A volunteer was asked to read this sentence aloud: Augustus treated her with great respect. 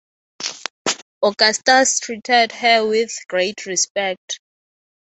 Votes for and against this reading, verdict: 3, 3, rejected